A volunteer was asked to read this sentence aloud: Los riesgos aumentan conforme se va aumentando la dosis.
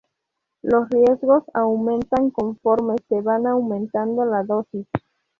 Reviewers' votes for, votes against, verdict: 0, 2, rejected